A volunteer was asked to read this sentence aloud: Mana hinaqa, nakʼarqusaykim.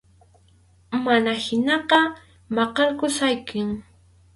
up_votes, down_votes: 0, 2